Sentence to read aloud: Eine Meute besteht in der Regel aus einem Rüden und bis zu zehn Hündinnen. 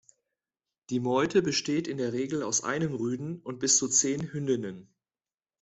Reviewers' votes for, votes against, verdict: 1, 2, rejected